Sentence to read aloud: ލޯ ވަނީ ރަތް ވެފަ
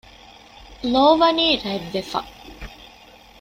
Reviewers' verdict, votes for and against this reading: accepted, 2, 0